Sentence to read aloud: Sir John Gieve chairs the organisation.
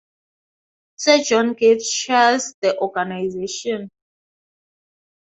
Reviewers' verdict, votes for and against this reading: accepted, 3, 0